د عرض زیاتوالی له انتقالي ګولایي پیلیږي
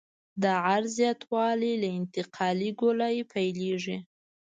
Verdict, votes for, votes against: rejected, 1, 2